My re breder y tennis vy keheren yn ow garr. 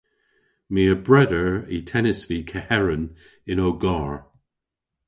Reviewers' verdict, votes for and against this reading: rejected, 0, 2